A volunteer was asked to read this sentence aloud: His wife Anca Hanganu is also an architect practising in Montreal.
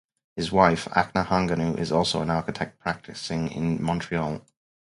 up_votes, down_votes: 2, 2